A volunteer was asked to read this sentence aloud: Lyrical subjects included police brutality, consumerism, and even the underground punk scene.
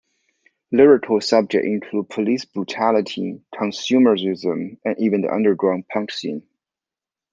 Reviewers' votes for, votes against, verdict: 0, 2, rejected